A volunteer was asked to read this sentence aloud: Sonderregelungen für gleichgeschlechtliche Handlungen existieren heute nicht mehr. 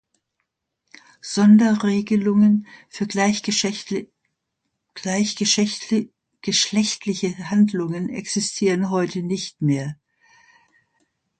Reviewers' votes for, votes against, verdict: 0, 2, rejected